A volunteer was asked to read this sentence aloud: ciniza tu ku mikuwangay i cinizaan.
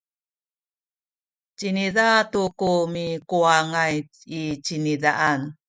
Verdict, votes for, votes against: rejected, 0, 2